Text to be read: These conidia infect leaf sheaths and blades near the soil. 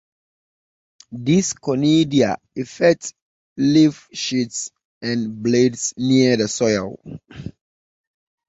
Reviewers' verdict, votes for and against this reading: rejected, 1, 2